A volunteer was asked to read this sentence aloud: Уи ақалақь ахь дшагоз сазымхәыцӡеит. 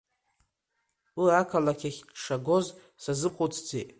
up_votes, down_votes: 2, 0